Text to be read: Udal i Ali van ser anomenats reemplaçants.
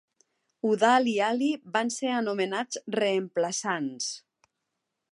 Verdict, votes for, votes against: accepted, 2, 0